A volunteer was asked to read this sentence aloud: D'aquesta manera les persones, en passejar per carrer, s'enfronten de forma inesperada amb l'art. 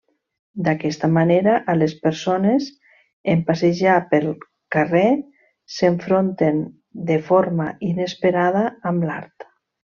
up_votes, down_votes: 0, 2